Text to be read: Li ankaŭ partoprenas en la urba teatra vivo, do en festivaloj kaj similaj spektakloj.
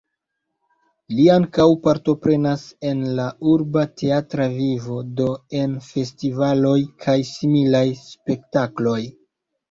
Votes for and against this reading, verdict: 0, 2, rejected